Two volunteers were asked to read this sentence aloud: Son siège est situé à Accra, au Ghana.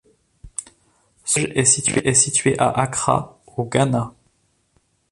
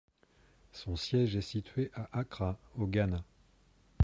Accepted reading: second